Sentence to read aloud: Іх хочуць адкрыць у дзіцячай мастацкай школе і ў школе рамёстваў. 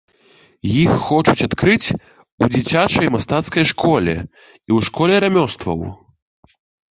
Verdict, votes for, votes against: accepted, 4, 0